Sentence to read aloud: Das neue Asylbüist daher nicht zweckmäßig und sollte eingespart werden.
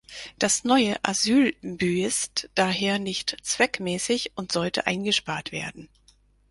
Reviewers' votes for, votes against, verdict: 2, 4, rejected